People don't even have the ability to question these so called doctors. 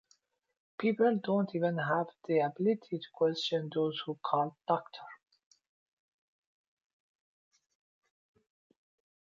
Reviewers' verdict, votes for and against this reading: rejected, 0, 2